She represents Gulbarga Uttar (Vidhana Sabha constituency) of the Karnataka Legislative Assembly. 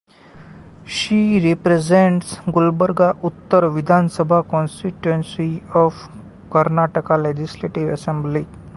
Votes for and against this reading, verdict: 0, 2, rejected